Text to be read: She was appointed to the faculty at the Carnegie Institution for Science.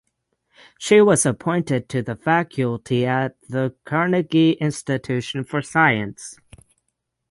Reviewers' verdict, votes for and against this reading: rejected, 3, 6